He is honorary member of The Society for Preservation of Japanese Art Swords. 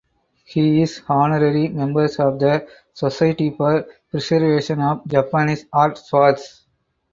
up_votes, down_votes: 2, 4